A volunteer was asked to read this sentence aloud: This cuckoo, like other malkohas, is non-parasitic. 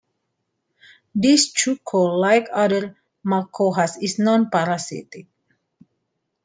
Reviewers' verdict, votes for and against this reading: rejected, 0, 2